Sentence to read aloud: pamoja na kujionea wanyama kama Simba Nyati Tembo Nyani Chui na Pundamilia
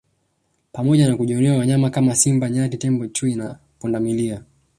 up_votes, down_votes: 2, 0